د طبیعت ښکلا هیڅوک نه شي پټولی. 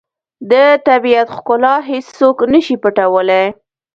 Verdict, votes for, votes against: rejected, 1, 2